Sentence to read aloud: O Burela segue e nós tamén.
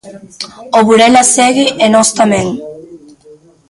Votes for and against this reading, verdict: 1, 2, rejected